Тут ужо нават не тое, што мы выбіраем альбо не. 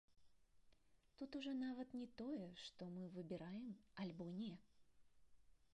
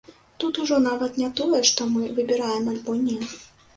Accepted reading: second